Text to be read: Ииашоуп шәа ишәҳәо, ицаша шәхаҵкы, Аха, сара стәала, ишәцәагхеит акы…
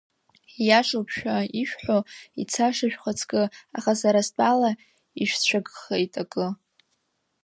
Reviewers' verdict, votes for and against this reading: rejected, 1, 2